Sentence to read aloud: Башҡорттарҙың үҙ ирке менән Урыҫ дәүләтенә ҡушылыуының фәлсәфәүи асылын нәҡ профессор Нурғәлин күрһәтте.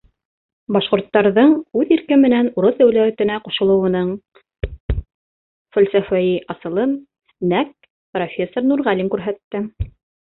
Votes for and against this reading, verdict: 1, 2, rejected